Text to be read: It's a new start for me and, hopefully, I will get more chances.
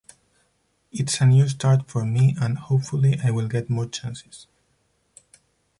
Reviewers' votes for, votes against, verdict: 0, 4, rejected